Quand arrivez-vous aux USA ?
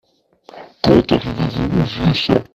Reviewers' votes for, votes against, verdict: 2, 0, accepted